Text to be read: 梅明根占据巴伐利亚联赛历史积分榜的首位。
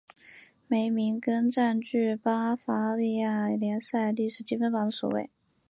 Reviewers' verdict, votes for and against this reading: accepted, 3, 0